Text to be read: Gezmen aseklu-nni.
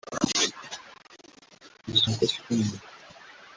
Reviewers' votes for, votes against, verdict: 0, 3, rejected